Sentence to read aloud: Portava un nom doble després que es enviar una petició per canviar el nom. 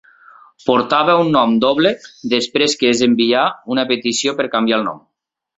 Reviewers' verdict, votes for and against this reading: accepted, 2, 0